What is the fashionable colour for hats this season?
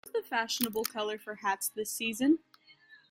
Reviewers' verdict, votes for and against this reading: rejected, 0, 2